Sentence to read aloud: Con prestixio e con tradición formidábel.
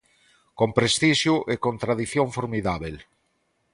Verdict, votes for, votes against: accepted, 2, 0